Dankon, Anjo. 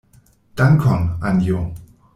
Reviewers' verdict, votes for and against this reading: accepted, 2, 0